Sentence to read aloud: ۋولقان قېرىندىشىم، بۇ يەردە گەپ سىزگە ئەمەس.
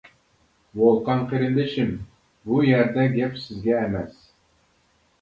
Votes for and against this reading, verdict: 2, 0, accepted